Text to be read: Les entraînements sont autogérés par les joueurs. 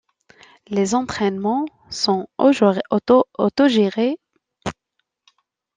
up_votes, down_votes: 0, 2